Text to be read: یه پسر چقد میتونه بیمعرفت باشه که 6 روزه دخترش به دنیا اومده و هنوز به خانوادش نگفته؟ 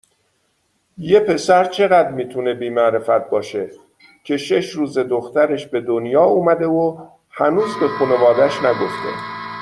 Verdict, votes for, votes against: rejected, 0, 2